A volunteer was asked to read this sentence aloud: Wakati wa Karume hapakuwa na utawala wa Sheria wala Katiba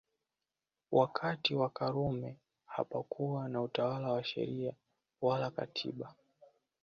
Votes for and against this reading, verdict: 2, 0, accepted